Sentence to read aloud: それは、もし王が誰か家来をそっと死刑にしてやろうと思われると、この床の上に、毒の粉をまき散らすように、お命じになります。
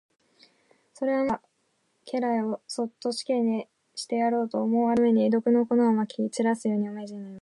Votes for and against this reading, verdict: 1, 2, rejected